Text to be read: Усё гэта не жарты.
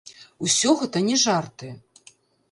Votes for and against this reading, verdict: 1, 2, rejected